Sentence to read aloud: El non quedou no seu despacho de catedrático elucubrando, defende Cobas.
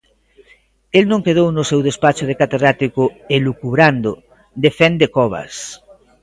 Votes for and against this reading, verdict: 2, 0, accepted